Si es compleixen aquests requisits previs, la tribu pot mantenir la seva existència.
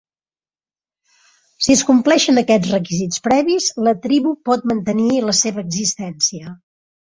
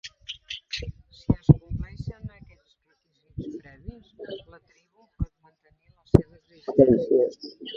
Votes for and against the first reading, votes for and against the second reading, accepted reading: 3, 0, 0, 2, first